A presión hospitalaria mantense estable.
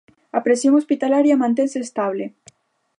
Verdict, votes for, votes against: accepted, 2, 0